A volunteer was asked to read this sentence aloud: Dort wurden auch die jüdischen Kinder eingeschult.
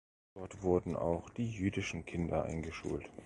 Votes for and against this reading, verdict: 2, 1, accepted